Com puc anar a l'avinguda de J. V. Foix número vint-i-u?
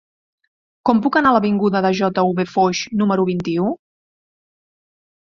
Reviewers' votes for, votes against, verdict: 0, 2, rejected